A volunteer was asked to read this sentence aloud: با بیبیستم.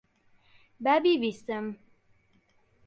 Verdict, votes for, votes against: accepted, 2, 0